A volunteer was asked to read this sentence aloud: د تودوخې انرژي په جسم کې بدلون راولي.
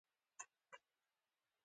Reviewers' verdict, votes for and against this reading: rejected, 1, 2